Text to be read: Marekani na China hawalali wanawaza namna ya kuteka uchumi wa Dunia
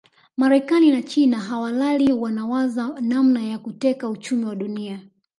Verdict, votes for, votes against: rejected, 1, 2